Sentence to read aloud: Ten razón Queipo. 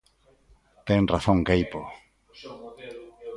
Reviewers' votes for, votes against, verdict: 1, 2, rejected